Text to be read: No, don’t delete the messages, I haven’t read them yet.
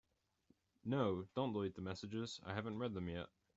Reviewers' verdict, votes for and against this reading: accepted, 2, 0